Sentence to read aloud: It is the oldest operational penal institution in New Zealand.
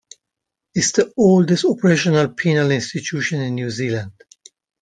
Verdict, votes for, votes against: rejected, 0, 2